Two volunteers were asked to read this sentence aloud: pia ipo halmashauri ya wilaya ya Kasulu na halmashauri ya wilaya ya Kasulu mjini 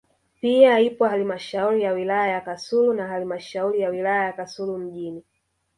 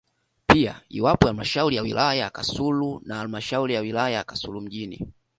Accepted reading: second